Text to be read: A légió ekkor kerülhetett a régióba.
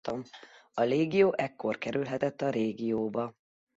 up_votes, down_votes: 1, 2